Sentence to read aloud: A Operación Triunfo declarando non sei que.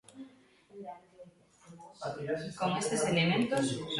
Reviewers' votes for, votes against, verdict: 0, 2, rejected